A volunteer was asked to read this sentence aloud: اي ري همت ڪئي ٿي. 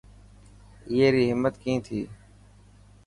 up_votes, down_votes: 4, 0